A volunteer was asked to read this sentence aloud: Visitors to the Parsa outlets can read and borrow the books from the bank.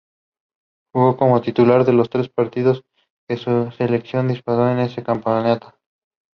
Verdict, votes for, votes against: rejected, 0, 2